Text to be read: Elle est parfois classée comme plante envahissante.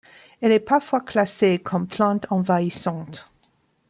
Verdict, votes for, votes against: accepted, 2, 0